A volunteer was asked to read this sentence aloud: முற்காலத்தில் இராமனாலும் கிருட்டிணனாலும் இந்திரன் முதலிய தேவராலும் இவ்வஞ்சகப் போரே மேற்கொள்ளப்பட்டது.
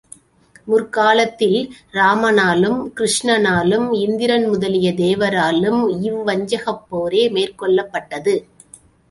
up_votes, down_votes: 1, 2